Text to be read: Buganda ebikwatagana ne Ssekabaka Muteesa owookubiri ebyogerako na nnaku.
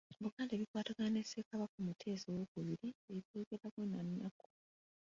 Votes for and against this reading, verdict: 0, 2, rejected